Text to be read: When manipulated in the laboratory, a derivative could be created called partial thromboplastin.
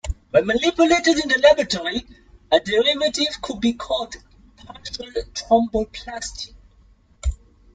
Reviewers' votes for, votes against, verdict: 0, 2, rejected